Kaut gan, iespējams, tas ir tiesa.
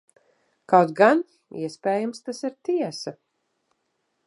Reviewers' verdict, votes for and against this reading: accepted, 2, 1